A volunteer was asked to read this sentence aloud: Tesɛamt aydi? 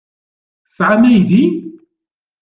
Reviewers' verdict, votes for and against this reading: rejected, 0, 2